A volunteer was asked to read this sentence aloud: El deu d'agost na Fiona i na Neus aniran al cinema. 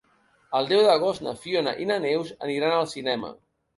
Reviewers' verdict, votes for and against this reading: accepted, 2, 1